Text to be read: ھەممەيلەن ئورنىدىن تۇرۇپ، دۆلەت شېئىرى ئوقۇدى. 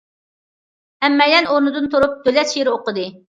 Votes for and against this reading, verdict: 2, 0, accepted